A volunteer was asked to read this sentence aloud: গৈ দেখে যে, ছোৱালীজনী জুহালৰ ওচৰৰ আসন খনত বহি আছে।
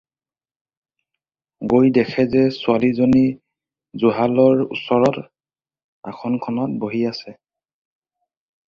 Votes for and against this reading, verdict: 2, 4, rejected